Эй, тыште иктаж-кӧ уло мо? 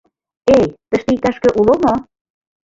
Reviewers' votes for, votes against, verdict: 0, 4, rejected